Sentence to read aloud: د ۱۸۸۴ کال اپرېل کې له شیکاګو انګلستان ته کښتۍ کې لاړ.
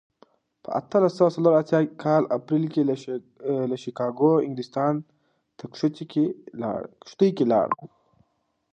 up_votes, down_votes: 0, 2